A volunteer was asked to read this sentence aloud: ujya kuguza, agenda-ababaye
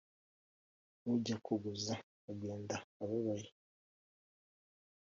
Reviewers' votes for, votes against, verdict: 2, 0, accepted